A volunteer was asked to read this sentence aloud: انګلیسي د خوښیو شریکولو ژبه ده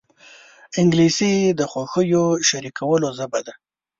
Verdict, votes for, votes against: rejected, 0, 2